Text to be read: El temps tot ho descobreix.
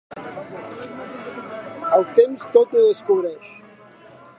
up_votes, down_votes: 1, 2